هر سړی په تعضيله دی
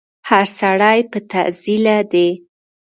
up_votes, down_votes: 1, 2